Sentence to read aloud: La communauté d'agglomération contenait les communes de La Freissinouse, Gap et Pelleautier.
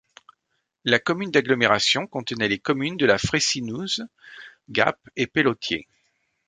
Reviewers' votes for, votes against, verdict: 0, 2, rejected